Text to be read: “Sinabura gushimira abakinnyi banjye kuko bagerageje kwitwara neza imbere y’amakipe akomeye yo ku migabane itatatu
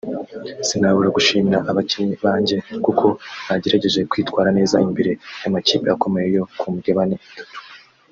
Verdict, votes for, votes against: rejected, 1, 2